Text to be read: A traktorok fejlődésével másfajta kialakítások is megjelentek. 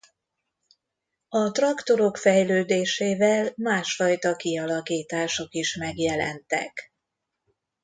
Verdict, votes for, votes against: accepted, 2, 0